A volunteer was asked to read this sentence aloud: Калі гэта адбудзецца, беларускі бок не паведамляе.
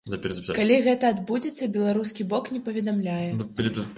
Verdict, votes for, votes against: rejected, 0, 2